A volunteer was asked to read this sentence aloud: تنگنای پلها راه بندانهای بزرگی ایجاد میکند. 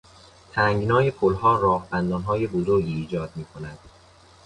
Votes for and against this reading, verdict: 2, 0, accepted